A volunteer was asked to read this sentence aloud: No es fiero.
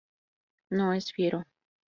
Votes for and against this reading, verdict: 0, 2, rejected